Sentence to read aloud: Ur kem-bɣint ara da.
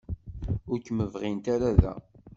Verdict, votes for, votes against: accepted, 2, 0